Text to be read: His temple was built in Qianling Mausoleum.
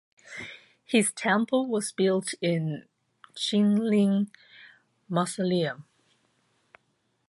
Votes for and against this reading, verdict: 0, 2, rejected